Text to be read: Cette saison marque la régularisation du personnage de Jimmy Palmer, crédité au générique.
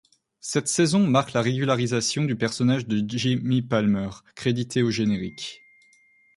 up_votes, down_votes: 1, 2